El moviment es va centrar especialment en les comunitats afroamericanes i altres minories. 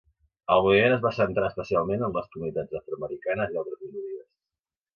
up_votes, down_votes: 1, 2